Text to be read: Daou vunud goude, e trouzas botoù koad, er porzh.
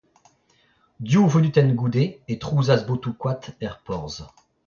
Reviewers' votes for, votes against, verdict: 0, 2, rejected